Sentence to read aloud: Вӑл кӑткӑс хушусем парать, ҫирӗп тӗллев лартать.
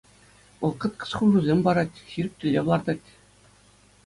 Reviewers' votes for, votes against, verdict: 2, 0, accepted